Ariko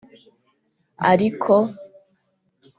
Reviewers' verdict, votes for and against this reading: accepted, 3, 0